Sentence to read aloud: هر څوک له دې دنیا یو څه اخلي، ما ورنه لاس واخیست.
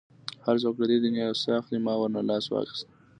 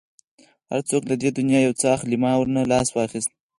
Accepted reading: first